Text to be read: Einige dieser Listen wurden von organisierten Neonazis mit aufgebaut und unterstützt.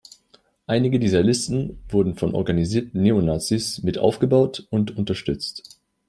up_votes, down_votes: 2, 0